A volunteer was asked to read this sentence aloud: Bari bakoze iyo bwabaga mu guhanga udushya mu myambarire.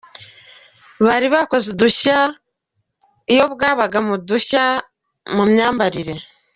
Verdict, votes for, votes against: rejected, 1, 2